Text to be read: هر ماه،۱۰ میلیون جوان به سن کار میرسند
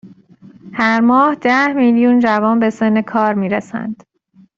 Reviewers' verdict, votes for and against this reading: rejected, 0, 2